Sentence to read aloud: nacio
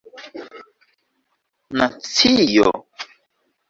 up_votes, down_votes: 1, 2